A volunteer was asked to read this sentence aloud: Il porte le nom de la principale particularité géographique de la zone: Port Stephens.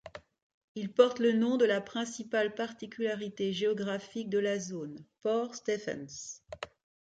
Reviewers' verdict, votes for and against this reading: accepted, 2, 0